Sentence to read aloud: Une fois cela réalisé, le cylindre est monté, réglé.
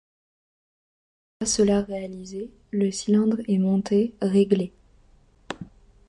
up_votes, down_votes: 1, 2